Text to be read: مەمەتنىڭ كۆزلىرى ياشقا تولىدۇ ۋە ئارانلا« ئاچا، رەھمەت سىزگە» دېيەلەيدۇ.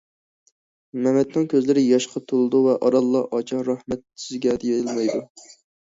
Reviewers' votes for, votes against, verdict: 2, 1, accepted